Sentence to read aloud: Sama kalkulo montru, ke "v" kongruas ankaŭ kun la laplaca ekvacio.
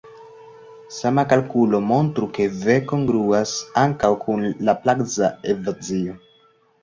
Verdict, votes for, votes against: accepted, 2, 0